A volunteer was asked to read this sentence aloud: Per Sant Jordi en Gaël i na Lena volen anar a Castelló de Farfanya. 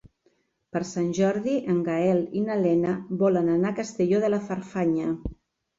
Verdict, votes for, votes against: rejected, 1, 3